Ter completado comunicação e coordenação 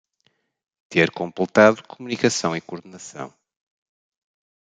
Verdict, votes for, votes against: accepted, 2, 0